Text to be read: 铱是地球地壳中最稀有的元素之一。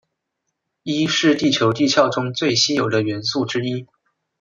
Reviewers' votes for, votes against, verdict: 0, 2, rejected